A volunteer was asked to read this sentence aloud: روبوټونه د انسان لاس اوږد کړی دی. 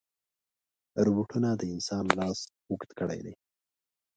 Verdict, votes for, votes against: accepted, 2, 0